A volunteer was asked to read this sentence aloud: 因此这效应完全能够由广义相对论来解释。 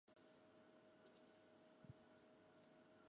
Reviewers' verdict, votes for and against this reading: rejected, 1, 2